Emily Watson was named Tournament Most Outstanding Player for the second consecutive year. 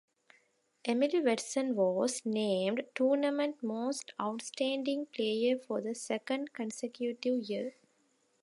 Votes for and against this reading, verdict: 2, 0, accepted